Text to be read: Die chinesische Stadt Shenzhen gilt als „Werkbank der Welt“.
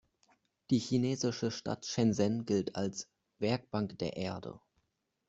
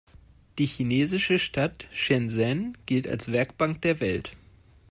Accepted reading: second